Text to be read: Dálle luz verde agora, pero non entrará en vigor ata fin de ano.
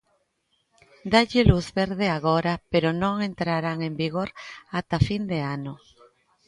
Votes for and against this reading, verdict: 1, 2, rejected